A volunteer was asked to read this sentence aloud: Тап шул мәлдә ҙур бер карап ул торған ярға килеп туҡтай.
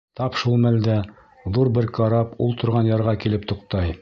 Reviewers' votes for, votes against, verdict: 2, 0, accepted